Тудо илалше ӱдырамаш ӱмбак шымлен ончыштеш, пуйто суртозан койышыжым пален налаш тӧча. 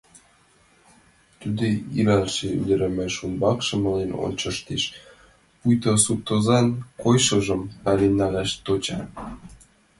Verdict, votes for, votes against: accepted, 2, 1